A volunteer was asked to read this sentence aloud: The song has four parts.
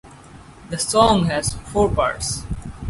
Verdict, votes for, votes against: accepted, 4, 0